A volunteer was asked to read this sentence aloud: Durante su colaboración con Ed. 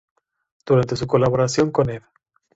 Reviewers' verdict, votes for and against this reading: accepted, 2, 0